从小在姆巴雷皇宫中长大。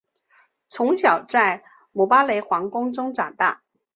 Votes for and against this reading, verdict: 5, 0, accepted